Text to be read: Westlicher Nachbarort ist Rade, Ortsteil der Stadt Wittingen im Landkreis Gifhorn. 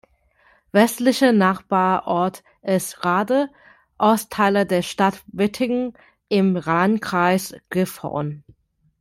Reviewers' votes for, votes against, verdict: 0, 2, rejected